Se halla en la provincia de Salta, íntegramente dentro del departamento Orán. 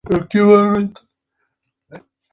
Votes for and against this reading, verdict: 2, 2, rejected